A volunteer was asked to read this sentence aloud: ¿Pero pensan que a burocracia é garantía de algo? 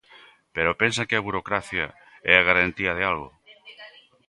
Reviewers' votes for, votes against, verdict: 1, 2, rejected